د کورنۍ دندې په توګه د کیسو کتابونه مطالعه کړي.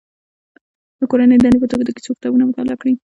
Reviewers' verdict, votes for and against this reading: accepted, 2, 0